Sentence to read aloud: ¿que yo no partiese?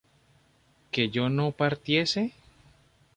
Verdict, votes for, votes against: accepted, 2, 0